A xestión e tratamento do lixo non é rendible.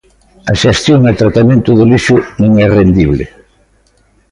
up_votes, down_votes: 2, 0